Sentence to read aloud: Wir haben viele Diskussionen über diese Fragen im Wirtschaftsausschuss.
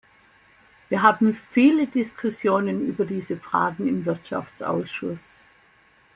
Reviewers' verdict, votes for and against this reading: accepted, 2, 0